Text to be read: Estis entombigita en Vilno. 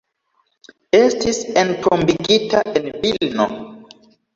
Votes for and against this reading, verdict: 1, 2, rejected